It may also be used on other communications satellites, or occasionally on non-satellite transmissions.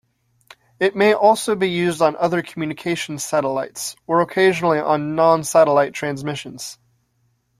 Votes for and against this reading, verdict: 2, 0, accepted